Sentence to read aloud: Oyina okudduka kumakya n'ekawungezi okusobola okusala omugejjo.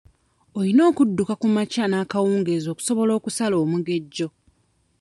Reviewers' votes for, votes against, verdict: 2, 0, accepted